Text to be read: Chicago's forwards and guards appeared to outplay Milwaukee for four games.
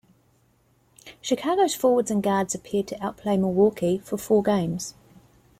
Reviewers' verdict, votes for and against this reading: accepted, 2, 0